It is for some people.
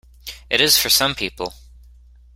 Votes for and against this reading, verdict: 2, 0, accepted